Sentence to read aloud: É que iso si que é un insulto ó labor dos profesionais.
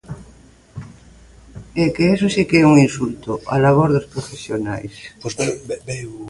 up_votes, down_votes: 0, 2